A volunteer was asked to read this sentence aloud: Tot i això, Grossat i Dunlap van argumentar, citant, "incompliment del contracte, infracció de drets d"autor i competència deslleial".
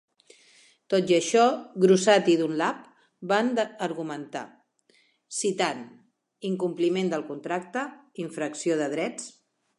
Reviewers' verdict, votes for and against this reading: rejected, 0, 2